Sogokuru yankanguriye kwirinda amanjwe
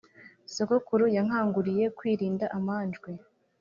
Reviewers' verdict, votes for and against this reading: accepted, 3, 0